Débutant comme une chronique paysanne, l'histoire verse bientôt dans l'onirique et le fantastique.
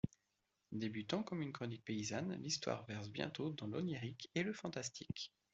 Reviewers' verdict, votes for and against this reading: accepted, 2, 0